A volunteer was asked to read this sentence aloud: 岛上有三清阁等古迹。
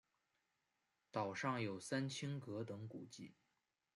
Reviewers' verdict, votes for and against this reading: accepted, 2, 1